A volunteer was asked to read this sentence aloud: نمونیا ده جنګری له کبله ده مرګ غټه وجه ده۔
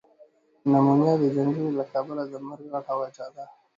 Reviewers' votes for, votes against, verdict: 2, 0, accepted